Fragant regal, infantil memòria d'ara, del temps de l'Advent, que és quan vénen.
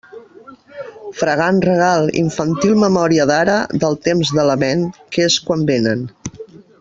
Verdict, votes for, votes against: rejected, 1, 2